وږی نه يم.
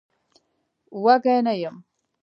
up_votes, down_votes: 0, 2